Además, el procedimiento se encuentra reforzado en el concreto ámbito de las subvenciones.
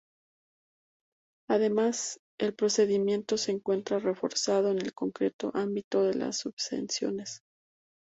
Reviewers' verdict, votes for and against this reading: rejected, 0, 2